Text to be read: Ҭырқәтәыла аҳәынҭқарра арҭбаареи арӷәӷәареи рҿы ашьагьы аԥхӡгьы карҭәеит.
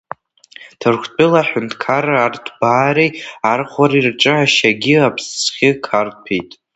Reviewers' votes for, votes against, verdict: 0, 2, rejected